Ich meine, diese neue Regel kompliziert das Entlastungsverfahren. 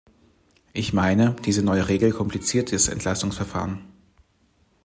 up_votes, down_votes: 1, 2